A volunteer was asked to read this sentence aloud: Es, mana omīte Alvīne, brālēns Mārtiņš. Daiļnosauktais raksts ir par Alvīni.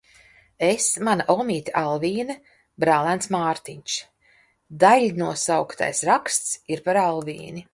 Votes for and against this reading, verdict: 2, 0, accepted